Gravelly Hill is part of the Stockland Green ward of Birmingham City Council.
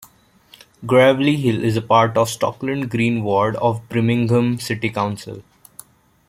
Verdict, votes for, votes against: accepted, 2, 0